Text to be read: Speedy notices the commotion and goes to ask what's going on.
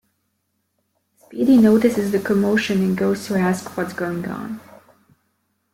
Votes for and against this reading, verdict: 2, 0, accepted